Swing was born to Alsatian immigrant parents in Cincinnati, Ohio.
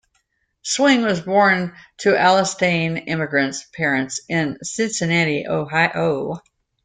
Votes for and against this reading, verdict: 0, 2, rejected